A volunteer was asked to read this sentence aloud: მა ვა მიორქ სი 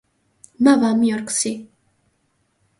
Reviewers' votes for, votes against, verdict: 0, 2, rejected